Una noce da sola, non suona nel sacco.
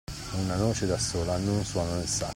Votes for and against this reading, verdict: 0, 2, rejected